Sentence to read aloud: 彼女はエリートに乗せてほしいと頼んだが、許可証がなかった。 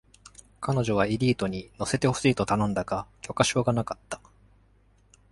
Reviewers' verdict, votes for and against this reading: accepted, 2, 0